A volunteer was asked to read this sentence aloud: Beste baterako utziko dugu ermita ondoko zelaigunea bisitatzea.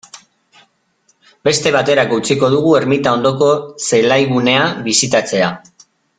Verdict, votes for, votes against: accepted, 2, 0